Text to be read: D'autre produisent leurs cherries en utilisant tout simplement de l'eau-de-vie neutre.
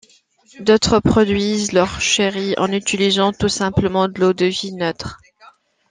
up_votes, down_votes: 2, 0